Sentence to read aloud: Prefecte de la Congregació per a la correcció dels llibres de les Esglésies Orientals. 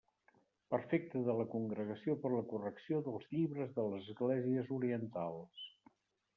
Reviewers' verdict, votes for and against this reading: rejected, 0, 2